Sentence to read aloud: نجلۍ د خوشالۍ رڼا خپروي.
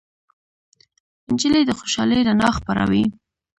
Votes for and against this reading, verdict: 2, 0, accepted